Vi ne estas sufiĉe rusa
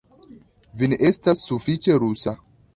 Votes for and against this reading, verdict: 2, 1, accepted